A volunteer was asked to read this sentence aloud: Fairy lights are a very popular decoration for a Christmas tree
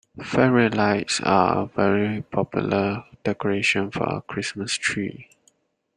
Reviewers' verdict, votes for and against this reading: accepted, 2, 1